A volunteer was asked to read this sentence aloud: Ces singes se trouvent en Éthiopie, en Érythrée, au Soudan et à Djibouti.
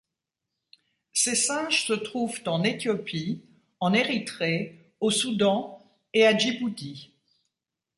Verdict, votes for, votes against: accepted, 2, 0